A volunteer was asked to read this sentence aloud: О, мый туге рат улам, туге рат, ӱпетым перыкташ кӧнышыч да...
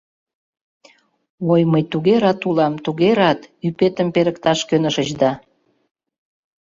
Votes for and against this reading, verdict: 0, 2, rejected